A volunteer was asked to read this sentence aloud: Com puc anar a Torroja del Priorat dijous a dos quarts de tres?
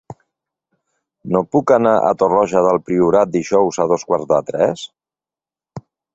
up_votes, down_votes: 1, 2